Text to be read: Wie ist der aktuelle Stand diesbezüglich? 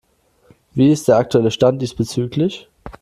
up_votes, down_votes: 2, 0